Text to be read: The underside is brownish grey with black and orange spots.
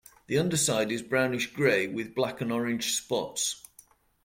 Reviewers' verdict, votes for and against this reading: accepted, 2, 0